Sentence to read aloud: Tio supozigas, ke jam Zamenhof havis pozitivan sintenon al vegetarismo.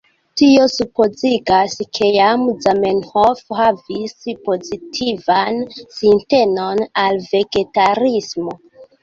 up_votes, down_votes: 2, 1